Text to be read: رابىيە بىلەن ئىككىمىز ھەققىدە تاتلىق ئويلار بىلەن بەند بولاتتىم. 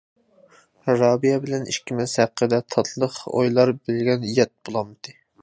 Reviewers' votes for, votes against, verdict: 0, 2, rejected